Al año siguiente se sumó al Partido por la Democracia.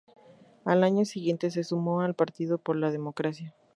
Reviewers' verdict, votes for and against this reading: accepted, 2, 0